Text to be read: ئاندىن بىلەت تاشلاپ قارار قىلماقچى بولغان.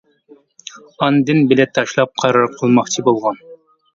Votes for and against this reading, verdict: 2, 0, accepted